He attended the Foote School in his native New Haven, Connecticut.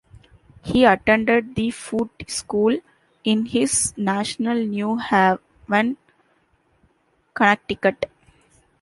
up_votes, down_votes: 0, 2